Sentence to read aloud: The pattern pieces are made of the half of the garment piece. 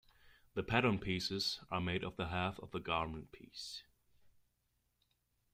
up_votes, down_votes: 1, 2